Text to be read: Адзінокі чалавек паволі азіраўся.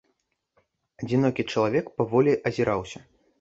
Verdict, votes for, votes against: accepted, 2, 0